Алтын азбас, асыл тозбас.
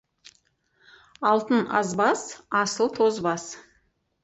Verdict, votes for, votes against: rejected, 2, 4